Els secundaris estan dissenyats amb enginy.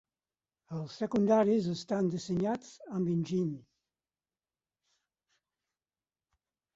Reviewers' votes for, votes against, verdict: 2, 4, rejected